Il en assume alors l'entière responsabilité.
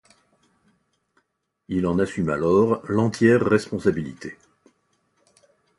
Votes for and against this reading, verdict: 0, 2, rejected